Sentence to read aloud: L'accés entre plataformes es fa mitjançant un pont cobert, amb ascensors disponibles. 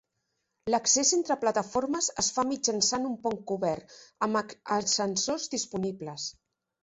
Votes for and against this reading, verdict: 1, 2, rejected